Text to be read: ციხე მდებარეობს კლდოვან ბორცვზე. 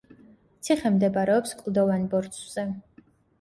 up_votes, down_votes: 2, 0